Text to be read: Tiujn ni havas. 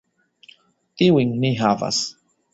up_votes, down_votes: 2, 0